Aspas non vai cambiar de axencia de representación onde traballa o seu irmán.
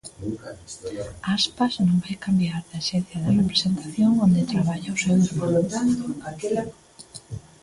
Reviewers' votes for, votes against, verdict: 0, 2, rejected